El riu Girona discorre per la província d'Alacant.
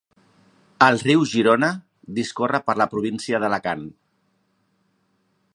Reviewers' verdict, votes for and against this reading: rejected, 1, 2